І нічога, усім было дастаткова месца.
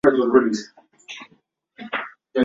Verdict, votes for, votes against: rejected, 0, 2